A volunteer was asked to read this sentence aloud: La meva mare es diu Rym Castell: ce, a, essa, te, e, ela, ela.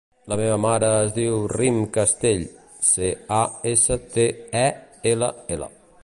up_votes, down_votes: 2, 0